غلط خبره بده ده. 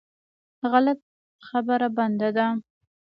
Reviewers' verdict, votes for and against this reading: rejected, 0, 2